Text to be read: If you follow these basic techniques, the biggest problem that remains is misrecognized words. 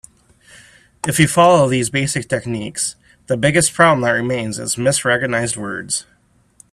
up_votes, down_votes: 2, 0